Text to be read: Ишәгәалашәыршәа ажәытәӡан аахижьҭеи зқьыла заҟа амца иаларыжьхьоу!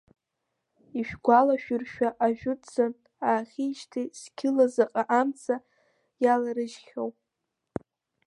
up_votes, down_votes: 3, 0